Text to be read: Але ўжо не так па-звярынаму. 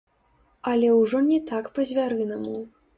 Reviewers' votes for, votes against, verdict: 2, 3, rejected